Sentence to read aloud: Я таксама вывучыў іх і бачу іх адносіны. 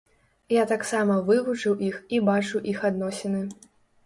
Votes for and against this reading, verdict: 2, 0, accepted